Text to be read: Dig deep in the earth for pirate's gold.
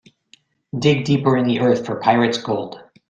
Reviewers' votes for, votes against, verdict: 0, 2, rejected